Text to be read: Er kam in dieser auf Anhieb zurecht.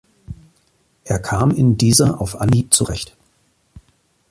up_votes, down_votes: 2, 0